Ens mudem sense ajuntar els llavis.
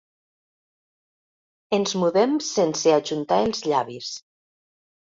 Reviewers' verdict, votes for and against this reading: accepted, 2, 0